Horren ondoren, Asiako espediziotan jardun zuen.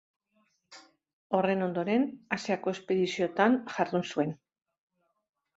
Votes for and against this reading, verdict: 2, 0, accepted